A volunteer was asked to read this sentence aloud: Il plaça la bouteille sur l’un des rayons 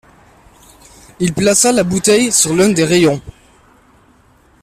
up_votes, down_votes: 2, 0